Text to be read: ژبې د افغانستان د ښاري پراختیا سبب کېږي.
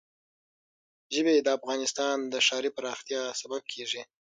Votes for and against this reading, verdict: 6, 3, accepted